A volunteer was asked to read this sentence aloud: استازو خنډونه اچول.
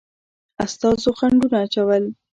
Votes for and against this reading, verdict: 0, 2, rejected